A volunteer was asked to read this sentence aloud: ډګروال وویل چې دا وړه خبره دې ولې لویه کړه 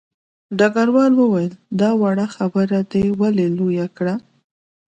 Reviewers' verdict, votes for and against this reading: accepted, 2, 0